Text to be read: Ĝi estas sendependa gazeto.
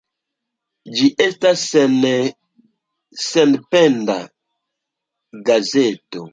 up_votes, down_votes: 1, 2